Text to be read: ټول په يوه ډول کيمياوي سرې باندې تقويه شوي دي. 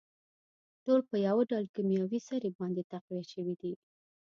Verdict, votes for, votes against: accepted, 2, 0